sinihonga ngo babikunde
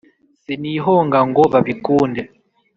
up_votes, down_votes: 2, 0